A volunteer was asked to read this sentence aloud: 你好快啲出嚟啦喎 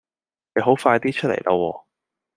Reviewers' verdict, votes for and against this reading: rejected, 1, 2